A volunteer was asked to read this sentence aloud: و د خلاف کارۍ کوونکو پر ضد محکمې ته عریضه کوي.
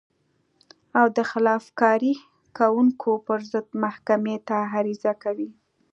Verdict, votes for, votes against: rejected, 1, 2